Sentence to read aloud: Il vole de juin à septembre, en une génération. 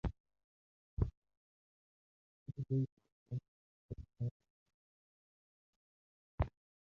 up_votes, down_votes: 0, 2